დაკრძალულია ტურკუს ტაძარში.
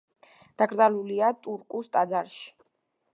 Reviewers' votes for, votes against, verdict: 2, 0, accepted